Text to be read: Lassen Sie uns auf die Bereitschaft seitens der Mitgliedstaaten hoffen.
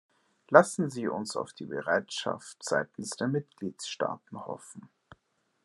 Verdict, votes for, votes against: accepted, 2, 1